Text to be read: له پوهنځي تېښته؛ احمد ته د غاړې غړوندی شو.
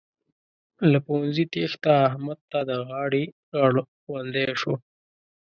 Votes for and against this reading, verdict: 1, 2, rejected